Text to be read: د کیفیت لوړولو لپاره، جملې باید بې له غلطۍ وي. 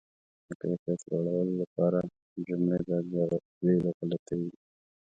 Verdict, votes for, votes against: rejected, 0, 2